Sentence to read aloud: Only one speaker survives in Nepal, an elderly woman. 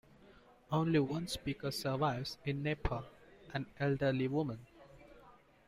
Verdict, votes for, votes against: accepted, 2, 0